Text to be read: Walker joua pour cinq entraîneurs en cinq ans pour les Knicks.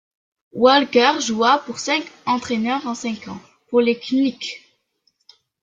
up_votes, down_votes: 1, 2